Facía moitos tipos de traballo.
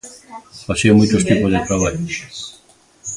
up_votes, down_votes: 2, 1